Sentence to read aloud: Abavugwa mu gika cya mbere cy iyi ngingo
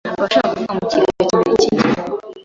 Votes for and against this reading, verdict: 1, 2, rejected